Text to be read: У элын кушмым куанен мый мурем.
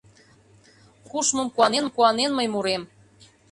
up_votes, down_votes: 0, 2